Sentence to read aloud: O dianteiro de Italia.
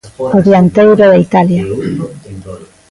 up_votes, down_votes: 2, 3